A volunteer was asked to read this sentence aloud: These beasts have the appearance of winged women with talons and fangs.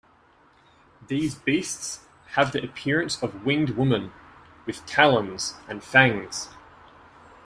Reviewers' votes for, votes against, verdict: 1, 2, rejected